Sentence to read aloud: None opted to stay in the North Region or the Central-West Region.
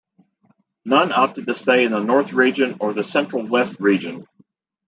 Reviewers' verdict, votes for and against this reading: accepted, 2, 1